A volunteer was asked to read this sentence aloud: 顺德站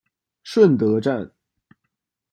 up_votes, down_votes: 2, 1